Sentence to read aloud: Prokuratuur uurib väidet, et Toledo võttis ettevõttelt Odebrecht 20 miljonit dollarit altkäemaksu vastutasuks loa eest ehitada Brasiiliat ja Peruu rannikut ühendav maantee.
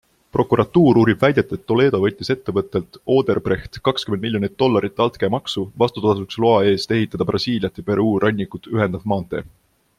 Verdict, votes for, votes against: rejected, 0, 2